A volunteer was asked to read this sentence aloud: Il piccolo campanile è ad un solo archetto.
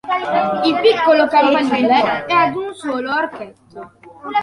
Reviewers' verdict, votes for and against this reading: accepted, 2, 1